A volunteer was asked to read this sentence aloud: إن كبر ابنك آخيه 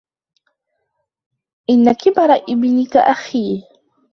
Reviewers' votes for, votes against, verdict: 1, 2, rejected